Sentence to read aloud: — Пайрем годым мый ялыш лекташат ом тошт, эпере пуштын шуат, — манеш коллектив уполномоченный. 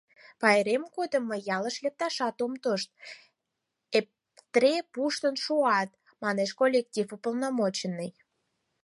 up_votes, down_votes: 0, 4